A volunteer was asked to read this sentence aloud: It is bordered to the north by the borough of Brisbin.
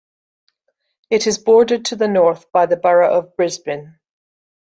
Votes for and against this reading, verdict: 2, 0, accepted